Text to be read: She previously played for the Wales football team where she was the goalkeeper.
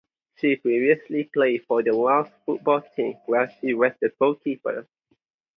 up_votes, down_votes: 0, 4